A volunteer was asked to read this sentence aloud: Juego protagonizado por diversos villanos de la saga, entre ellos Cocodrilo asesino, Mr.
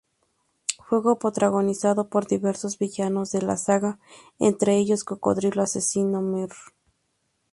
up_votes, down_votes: 4, 4